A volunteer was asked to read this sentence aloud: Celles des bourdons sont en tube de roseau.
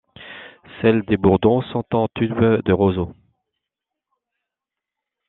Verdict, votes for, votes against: accepted, 2, 0